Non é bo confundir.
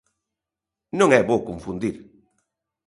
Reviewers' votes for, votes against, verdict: 2, 0, accepted